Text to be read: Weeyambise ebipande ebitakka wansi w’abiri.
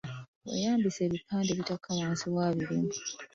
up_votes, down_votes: 2, 1